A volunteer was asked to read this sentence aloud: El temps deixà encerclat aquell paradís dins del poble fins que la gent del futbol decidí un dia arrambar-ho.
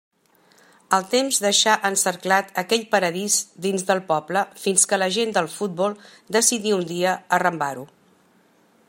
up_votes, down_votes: 2, 1